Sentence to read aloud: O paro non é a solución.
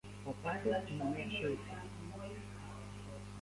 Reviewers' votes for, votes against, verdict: 0, 2, rejected